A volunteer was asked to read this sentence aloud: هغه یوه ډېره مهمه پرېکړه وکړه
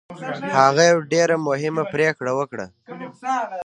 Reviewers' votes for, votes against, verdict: 2, 0, accepted